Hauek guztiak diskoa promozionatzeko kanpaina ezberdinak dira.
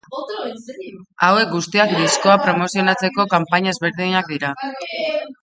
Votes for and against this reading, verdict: 0, 2, rejected